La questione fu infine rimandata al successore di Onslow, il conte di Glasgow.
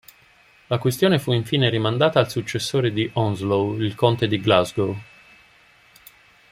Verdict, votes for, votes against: accepted, 2, 0